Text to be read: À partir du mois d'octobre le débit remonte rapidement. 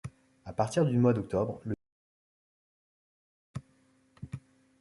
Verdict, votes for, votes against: rejected, 0, 2